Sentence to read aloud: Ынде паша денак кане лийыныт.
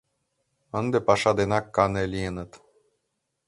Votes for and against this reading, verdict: 2, 0, accepted